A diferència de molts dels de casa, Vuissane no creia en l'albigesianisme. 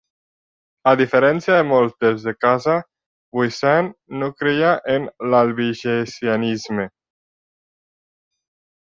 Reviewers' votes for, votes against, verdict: 0, 2, rejected